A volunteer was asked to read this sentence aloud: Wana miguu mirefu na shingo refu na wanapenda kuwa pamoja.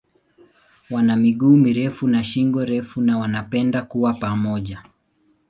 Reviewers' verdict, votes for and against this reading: accepted, 2, 0